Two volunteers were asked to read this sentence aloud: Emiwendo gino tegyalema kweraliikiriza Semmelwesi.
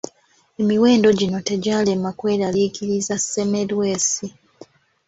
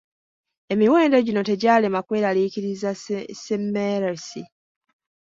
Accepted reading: first